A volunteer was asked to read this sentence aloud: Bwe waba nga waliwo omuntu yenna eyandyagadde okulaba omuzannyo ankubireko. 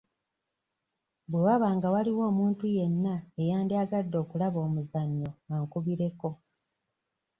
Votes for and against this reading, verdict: 2, 0, accepted